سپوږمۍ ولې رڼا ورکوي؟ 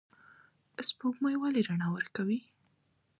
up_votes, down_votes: 2, 0